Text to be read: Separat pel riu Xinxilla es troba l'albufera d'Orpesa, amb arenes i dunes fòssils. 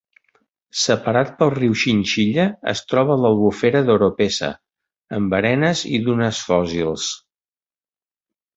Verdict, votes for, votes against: rejected, 0, 2